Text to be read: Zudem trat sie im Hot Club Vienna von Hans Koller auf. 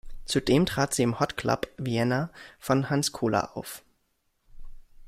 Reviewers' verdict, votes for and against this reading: rejected, 1, 2